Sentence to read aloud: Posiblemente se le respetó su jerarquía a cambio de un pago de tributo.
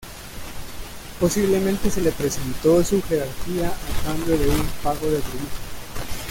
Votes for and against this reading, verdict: 0, 2, rejected